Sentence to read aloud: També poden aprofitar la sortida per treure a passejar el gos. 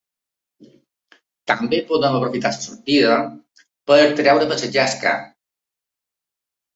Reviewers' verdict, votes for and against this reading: rejected, 0, 2